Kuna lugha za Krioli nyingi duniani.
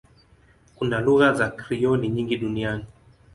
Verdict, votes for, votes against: accepted, 2, 0